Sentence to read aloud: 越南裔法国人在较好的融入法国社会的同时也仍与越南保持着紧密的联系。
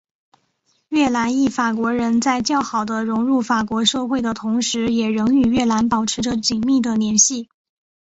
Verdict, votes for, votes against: accepted, 6, 0